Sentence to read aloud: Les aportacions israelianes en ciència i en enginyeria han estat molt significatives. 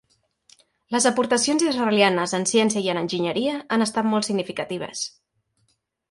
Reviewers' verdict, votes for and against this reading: accepted, 4, 0